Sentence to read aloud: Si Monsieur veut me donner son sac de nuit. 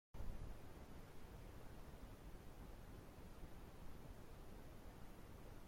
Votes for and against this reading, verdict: 0, 2, rejected